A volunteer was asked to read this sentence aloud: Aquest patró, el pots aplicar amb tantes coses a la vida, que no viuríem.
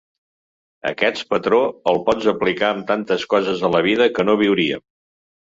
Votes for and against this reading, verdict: 2, 0, accepted